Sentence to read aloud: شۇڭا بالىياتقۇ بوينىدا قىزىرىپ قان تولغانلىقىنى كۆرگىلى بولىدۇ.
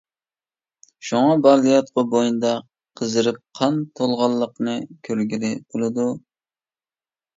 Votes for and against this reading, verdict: 1, 2, rejected